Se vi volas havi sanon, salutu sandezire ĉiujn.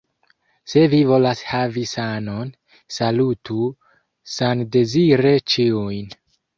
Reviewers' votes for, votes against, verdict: 2, 0, accepted